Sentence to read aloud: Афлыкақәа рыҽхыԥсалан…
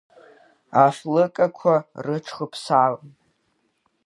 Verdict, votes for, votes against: rejected, 0, 2